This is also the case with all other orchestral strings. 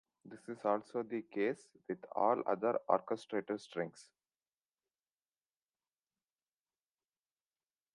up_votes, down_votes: 0, 2